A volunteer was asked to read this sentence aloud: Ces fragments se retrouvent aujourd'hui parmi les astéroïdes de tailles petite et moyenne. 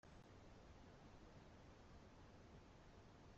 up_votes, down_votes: 0, 2